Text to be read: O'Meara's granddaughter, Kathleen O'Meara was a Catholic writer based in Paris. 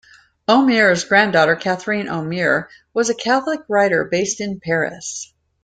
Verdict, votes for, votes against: rejected, 1, 2